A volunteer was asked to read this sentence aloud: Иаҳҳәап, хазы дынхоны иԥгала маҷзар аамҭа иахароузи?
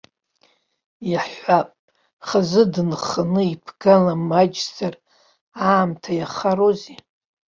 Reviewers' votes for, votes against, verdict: 3, 1, accepted